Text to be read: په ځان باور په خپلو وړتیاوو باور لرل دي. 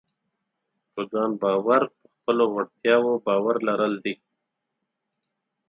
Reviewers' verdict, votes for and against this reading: accepted, 4, 0